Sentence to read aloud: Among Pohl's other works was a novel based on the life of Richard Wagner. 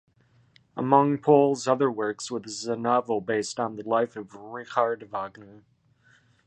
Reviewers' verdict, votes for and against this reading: rejected, 1, 2